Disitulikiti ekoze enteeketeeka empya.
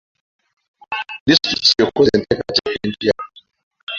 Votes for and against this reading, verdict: 2, 3, rejected